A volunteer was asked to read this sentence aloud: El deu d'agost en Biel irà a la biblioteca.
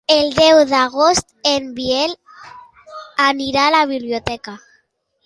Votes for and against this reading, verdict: 1, 2, rejected